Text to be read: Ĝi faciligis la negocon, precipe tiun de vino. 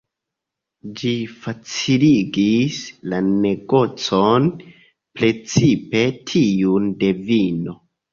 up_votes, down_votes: 2, 0